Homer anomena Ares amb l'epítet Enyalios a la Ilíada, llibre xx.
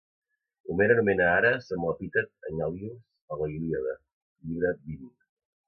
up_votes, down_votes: 0, 2